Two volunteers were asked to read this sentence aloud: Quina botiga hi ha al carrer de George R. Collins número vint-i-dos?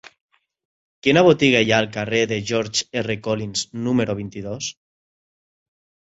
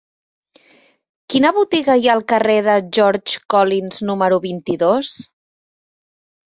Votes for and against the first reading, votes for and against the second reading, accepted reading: 3, 0, 1, 2, first